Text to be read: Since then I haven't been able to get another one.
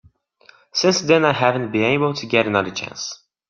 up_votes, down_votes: 0, 3